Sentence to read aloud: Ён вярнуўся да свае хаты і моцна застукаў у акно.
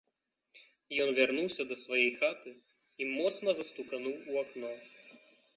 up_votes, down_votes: 1, 2